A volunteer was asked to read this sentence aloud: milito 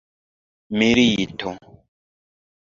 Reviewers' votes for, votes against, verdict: 1, 2, rejected